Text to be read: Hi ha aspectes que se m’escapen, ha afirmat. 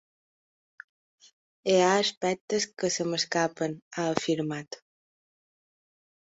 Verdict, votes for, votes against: accepted, 2, 0